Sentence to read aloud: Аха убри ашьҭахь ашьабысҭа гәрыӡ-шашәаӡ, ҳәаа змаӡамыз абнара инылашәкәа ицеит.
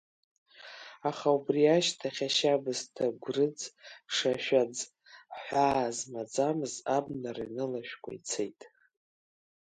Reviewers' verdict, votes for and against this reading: accepted, 2, 1